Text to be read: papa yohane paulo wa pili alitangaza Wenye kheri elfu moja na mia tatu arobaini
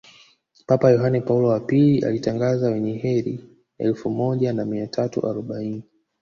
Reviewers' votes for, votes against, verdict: 2, 0, accepted